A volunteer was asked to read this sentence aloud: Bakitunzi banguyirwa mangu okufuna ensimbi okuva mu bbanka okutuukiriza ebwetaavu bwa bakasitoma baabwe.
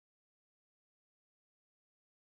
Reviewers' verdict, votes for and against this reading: rejected, 0, 2